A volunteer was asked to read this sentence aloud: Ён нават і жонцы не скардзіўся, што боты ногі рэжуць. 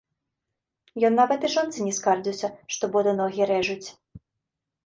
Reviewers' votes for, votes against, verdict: 2, 0, accepted